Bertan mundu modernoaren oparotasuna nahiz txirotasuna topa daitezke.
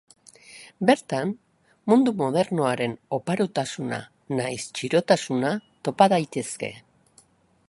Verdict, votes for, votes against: accepted, 2, 0